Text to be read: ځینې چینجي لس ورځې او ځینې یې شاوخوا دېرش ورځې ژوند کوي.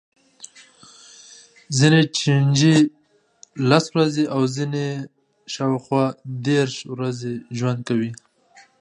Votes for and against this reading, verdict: 2, 0, accepted